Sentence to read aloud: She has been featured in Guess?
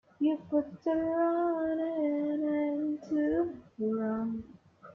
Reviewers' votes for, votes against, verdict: 0, 2, rejected